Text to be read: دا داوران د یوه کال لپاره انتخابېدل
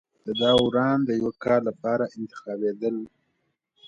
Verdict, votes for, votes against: accepted, 2, 1